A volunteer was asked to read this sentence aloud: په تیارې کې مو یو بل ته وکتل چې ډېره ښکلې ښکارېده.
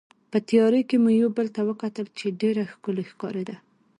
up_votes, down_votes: 2, 0